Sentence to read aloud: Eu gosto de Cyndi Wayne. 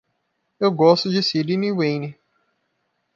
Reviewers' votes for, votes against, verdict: 1, 2, rejected